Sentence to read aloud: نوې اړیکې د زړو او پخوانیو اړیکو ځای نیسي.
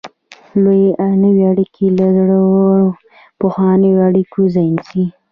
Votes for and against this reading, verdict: 0, 2, rejected